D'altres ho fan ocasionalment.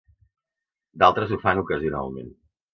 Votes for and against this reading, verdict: 2, 0, accepted